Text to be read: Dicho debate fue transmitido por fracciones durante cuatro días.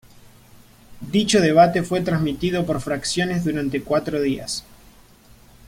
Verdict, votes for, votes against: accepted, 3, 0